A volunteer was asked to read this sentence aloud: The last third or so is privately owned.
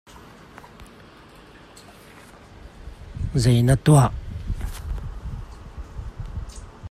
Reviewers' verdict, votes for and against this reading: rejected, 1, 2